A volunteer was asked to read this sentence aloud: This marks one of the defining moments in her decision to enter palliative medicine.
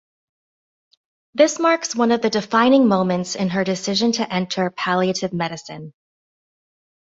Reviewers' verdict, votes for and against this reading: accepted, 2, 0